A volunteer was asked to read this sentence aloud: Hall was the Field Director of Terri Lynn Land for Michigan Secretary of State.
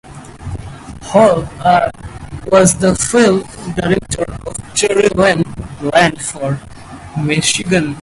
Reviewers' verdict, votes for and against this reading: rejected, 0, 4